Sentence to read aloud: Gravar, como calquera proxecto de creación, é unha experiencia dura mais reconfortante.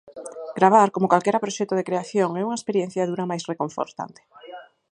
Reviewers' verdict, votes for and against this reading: rejected, 2, 4